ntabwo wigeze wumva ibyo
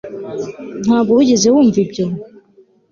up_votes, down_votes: 2, 0